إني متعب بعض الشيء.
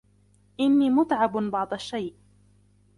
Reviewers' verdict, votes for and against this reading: accepted, 2, 1